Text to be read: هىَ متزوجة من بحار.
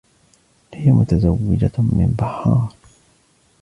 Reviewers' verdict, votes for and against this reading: accepted, 2, 0